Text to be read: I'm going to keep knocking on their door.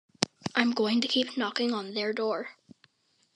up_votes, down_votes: 2, 0